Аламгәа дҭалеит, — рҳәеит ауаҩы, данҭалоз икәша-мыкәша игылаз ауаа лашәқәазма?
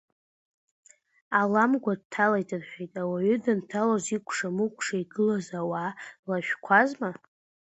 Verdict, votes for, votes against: accepted, 2, 0